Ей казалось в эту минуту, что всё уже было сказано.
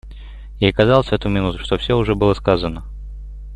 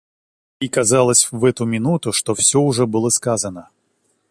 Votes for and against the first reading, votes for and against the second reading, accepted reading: 2, 0, 0, 2, first